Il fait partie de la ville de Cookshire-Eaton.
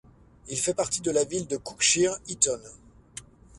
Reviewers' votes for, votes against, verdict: 2, 0, accepted